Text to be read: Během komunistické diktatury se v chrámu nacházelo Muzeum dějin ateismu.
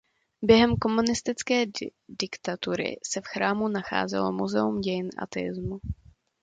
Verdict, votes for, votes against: rejected, 0, 2